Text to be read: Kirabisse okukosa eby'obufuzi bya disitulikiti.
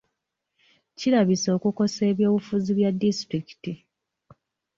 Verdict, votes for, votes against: accepted, 2, 0